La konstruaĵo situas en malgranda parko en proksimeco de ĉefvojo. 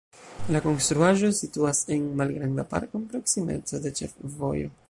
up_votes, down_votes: 0, 2